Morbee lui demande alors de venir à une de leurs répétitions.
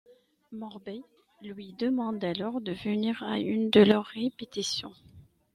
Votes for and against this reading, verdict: 2, 0, accepted